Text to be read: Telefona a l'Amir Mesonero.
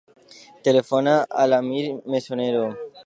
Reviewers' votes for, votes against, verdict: 2, 0, accepted